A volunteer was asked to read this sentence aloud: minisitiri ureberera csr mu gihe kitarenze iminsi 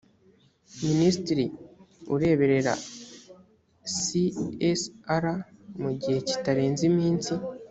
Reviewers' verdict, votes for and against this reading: accepted, 3, 0